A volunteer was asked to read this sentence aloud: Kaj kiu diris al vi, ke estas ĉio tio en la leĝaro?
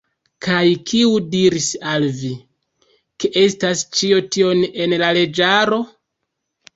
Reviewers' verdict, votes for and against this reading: rejected, 1, 2